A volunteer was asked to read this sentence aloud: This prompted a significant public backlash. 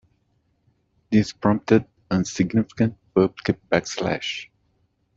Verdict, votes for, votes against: rejected, 1, 2